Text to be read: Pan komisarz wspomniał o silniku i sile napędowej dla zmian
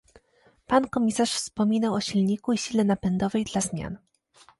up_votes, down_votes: 1, 2